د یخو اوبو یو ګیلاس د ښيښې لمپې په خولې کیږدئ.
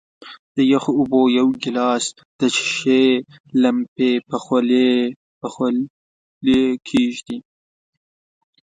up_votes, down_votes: 0, 2